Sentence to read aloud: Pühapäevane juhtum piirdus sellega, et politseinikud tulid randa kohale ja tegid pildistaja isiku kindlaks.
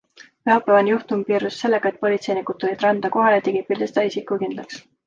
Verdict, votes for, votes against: accepted, 2, 0